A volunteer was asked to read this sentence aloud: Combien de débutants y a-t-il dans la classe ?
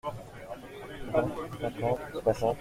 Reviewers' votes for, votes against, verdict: 0, 2, rejected